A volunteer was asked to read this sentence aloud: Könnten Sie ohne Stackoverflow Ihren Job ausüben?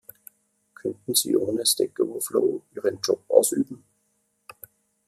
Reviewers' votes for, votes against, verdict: 1, 2, rejected